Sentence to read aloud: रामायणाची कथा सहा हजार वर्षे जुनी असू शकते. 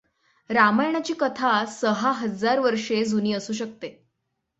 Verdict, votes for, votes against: accepted, 6, 0